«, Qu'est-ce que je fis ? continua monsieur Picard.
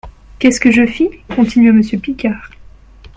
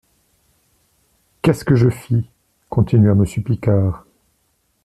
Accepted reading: second